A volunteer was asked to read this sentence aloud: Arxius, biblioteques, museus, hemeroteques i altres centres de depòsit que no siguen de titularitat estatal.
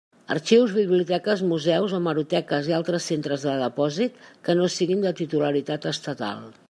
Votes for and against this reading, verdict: 2, 0, accepted